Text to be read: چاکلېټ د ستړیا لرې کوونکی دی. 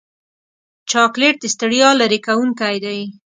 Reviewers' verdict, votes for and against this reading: accepted, 3, 0